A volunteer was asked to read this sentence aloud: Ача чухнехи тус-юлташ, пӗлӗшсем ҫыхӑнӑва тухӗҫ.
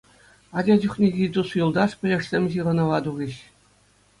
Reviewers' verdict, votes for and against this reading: accepted, 2, 0